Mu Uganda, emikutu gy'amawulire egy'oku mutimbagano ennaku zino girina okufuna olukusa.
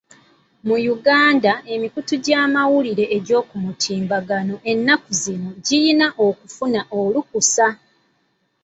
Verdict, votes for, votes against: accepted, 3, 1